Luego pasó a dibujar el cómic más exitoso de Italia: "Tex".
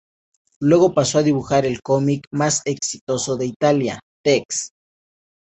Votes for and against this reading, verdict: 2, 0, accepted